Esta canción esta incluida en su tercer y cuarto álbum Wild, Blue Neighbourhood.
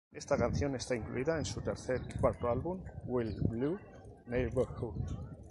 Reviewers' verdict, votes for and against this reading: rejected, 0, 2